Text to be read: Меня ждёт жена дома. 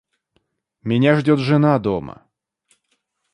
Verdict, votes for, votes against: accepted, 2, 0